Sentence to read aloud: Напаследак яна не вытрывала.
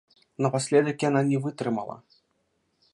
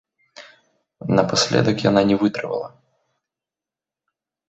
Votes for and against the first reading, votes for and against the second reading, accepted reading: 1, 2, 2, 0, second